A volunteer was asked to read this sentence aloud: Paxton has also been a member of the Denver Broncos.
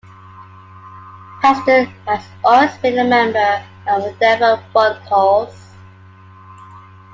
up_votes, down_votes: 1, 2